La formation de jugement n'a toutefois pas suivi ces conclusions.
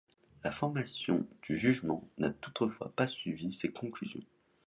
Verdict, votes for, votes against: rejected, 1, 2